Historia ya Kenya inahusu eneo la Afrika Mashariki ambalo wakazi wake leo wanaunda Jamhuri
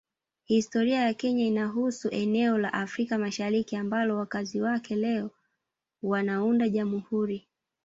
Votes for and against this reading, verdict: 2, 3, rejected